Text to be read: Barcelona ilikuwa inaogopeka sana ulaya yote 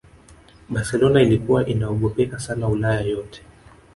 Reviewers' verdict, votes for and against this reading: accepted, 2, 1